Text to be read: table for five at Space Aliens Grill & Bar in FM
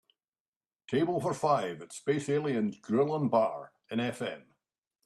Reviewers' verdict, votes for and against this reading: accepted, 2, 0